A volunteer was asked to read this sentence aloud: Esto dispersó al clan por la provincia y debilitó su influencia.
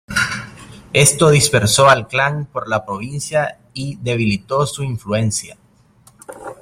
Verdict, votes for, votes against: accepted, 2, 0